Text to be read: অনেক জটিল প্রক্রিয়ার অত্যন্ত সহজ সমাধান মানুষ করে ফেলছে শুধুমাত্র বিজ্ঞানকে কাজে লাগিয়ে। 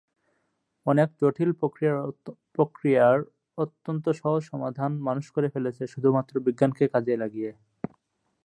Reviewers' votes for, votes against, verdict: 2, 8, rejected